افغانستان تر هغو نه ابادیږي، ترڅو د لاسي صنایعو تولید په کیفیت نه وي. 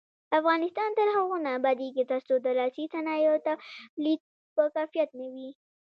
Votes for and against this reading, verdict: 2, 0, accepted